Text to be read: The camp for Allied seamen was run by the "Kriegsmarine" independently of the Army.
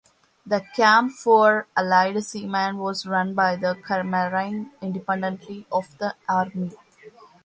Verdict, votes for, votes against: accepted, 2, 1